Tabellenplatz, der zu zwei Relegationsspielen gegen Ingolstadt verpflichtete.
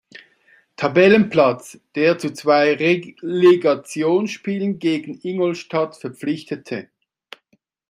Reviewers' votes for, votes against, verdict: 1, 2, rejected